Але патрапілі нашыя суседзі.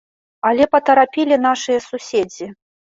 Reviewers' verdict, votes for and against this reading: rejected, 0, 2